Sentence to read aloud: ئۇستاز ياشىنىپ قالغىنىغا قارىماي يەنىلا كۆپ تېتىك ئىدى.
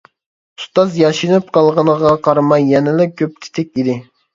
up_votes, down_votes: 2, 0